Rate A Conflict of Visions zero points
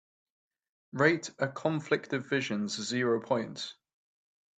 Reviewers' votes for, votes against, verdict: 2, 0, accepted